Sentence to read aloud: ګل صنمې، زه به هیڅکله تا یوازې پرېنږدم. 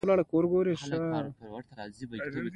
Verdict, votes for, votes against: accepted, 2, 1